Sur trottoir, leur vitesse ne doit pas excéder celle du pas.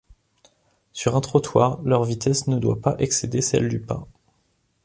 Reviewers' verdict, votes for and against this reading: rejected, 0, 2